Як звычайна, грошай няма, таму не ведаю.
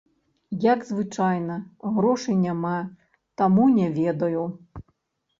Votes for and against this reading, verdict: 0, 2, rejected